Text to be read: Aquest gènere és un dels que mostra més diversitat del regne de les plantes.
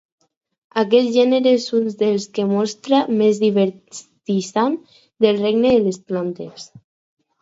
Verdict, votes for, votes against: rejected, 0, 4